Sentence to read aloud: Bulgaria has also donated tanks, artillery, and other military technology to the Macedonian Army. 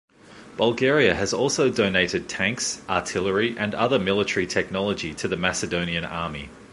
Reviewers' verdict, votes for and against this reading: accepted, 2, 0